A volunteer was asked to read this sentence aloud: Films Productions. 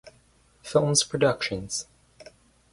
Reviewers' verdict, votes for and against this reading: rejected, 0, 2